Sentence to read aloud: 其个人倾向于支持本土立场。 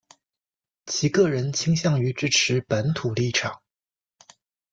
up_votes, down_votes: 2, 0